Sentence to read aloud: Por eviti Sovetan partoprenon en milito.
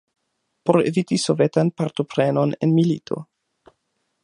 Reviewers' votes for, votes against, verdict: 2, 0, accepted